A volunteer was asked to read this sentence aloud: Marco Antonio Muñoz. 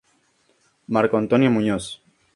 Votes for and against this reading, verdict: 2, 0, accepted